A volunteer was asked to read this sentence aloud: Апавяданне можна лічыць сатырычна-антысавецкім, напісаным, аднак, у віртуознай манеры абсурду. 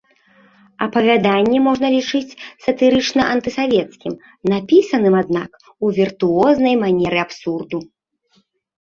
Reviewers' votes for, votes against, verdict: 2, 0, accepted